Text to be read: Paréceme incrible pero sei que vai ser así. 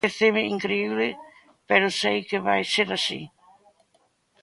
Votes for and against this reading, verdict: 1, 2, rejected